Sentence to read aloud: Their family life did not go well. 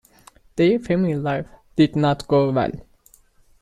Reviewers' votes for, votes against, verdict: 1, 2, rejected